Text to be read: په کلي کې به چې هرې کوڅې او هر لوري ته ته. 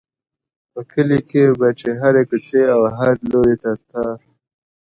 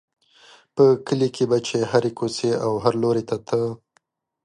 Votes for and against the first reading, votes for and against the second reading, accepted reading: 1, 2, 2, 0, second